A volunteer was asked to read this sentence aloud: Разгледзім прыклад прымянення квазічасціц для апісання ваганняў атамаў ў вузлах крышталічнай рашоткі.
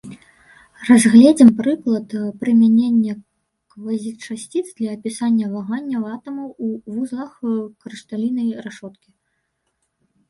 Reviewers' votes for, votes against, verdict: 1, 2, rejected